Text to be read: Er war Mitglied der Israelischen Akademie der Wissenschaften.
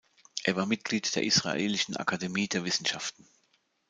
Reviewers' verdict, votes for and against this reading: accepted, 2, 0